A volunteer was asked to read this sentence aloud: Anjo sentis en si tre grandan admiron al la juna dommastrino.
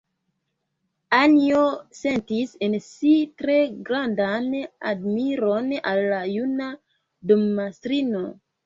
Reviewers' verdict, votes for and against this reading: accepted, 2, 0